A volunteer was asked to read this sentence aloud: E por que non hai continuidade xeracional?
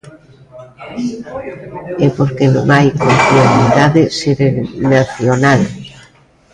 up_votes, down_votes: 0, 2